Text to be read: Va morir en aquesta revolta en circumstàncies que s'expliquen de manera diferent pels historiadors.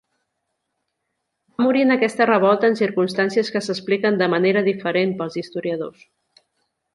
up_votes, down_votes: 0, 2